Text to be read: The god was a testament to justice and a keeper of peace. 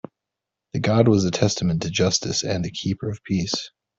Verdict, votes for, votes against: accepted, 2, 0